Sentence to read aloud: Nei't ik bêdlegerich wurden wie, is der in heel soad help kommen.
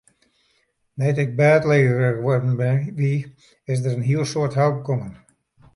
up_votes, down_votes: 0, 2